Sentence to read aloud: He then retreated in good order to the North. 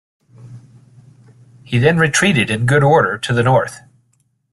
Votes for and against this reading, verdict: 0, 2, rejected